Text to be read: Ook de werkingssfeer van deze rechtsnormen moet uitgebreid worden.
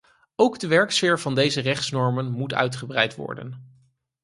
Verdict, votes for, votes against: rejected, 0, 4